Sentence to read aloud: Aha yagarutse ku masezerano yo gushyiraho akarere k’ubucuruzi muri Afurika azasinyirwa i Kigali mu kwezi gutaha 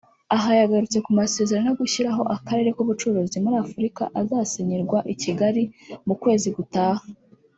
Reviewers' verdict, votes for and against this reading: rejected, 1, 2